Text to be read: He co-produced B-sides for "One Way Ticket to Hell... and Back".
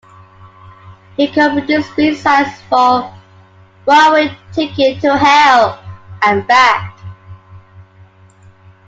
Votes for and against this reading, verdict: 0, 2, rejected